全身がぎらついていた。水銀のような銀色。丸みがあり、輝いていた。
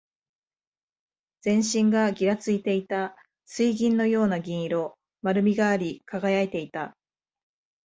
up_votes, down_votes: 2, 0